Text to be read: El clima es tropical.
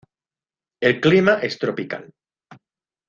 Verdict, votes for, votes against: accepted, 2, 0